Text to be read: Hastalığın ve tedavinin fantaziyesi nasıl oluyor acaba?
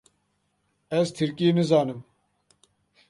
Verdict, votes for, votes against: rejected, 0, 2